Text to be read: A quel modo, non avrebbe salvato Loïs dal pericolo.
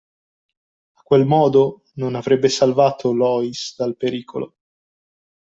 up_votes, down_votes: 2, 0